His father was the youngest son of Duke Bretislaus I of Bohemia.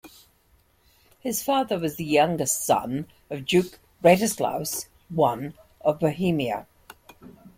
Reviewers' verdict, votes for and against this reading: rejected, 1, 2